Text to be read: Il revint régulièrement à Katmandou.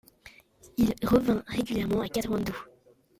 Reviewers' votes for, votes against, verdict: 1, 2, rejected